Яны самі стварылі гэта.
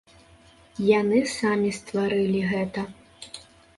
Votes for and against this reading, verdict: 2, 0, accepted